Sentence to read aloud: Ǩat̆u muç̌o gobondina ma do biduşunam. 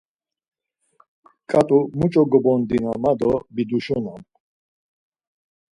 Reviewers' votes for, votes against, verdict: 4, 2, accepted